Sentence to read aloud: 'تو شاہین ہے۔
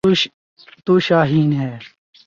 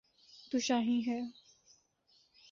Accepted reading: second